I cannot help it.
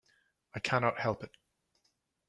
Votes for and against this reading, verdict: 2, 0, accepted